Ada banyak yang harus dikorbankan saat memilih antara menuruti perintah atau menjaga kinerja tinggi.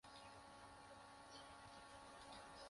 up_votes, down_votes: 0, 2